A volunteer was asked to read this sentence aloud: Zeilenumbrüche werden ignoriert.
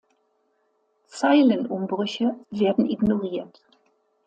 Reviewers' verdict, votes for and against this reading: accepted, 2, 0